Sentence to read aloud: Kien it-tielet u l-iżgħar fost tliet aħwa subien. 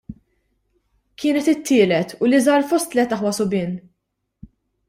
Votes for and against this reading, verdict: 1, 2, rejected